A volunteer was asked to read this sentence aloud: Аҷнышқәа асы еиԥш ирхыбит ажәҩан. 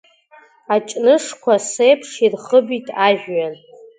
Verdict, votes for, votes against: rejected, 1, 2